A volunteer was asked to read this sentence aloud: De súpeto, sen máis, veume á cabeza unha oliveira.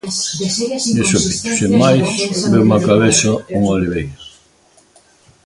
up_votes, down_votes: 0, 2